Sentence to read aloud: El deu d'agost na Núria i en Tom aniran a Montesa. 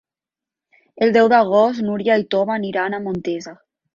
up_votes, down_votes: 2, 0